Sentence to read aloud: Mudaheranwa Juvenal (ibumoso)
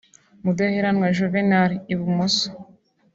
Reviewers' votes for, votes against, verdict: 2, 0, accepted